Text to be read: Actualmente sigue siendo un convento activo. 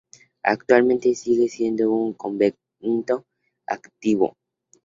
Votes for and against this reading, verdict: 2, 0, accepted